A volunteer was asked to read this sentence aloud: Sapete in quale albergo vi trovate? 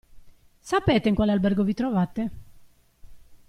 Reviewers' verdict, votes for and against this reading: accepted, 2, 0